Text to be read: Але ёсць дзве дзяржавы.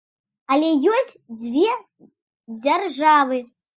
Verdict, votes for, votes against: accepted, 2, 0